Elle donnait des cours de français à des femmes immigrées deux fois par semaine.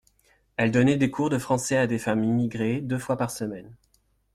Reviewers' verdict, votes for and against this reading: accepted, 2, 0